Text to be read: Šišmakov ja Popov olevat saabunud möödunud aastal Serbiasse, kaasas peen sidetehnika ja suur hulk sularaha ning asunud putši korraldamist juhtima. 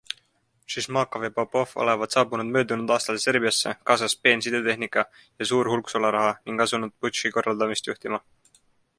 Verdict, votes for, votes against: accepted, 2, 1